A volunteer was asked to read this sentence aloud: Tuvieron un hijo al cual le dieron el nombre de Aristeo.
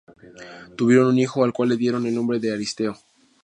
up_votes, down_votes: 4, 0